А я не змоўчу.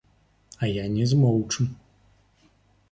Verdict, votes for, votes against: accepted, 2, 0